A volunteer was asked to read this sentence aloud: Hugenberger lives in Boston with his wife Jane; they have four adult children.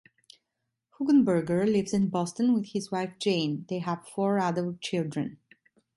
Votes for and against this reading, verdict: 2, 0, accepted